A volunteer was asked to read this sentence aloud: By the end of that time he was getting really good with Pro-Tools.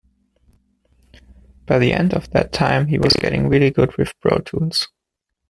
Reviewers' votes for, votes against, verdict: 2, 0, accepted